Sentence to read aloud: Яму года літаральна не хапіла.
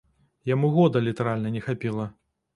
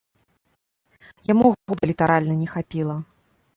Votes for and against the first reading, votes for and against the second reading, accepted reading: 2, 0, 1, 2, first